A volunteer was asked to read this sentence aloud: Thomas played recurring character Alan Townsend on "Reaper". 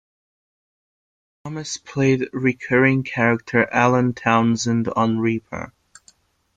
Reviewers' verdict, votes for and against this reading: accepted, 2, 0